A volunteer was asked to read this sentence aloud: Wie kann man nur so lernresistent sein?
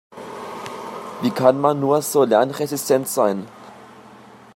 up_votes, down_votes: 2, 0